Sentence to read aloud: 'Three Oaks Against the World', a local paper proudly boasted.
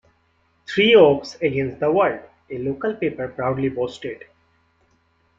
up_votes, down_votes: 2, 0